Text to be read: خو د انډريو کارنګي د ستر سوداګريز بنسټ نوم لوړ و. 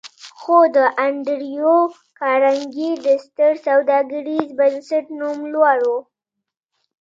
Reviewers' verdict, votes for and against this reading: rejected, 1, 2